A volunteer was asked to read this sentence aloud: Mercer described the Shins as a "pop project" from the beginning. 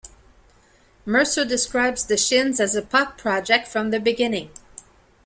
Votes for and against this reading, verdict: 1, 2, rejected